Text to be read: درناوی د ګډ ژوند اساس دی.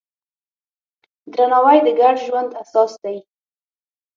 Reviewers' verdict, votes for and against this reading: accepted, 6, 3